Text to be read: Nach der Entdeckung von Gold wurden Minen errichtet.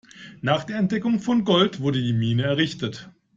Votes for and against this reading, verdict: 1, 2, rejected